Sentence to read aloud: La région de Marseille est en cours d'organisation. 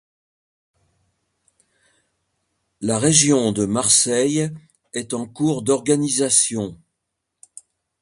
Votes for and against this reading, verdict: 2, 0, accepted